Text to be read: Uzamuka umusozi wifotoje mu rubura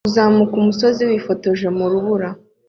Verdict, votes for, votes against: accepted, 2, 0